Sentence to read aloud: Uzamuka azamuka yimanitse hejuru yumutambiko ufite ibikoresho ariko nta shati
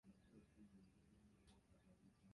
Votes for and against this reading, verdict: 0, 2, rejected